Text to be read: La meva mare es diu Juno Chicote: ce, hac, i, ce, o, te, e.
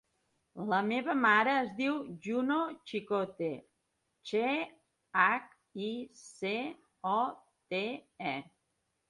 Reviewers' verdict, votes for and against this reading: rejected, 1, 2